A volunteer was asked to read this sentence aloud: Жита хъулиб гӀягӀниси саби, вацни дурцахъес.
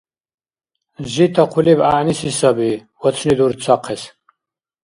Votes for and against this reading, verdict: 2, 0, accepted